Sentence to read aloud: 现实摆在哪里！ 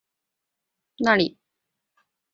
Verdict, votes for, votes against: rejected, 0, 3